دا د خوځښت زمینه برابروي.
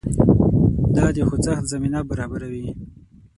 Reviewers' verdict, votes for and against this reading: rejected, 3, 6